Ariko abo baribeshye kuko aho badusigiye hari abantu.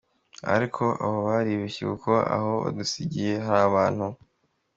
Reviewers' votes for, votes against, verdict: 2, 0, accepted